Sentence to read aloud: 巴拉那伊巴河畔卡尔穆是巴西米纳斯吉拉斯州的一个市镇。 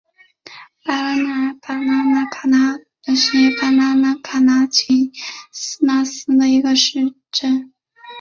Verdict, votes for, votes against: rejected, 0, 3